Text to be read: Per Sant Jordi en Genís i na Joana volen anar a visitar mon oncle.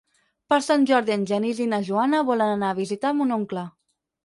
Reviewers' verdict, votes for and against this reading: accepted, 6, 0